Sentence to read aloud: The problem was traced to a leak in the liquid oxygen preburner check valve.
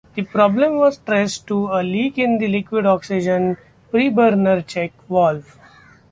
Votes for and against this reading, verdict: 1, 2, rejected